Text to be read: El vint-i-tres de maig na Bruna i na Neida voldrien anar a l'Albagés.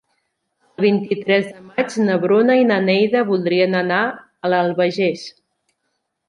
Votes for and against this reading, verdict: 1, 2, rejected